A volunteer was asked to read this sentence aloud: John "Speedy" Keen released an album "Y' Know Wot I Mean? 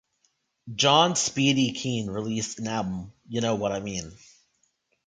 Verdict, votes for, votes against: accepted, 2, 1